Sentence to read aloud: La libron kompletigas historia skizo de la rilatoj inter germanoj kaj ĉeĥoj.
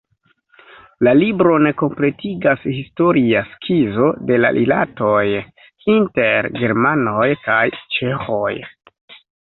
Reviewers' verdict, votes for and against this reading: accepted, 2, 0